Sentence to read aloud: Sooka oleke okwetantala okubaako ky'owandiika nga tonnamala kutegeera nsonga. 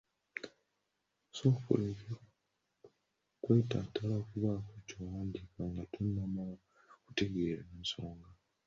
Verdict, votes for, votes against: rejected, 0, 2